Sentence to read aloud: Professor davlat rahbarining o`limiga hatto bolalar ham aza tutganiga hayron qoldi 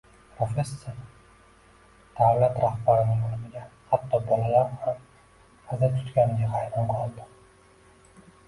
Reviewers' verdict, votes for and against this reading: accepted, 2, 1